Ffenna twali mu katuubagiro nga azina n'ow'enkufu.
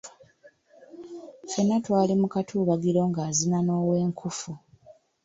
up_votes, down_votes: 1, 2